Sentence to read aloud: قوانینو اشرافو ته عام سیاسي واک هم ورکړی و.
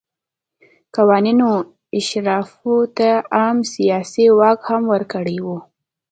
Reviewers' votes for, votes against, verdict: 2, 0, accepted